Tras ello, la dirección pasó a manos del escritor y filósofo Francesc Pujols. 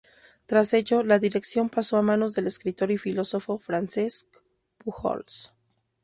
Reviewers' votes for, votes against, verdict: 2, 0, accepted